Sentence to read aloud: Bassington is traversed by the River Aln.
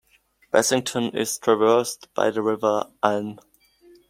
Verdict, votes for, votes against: accepted, 2, 0